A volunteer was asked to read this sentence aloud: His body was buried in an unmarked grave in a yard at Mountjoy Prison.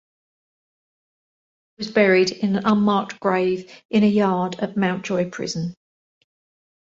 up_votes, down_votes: 0, 2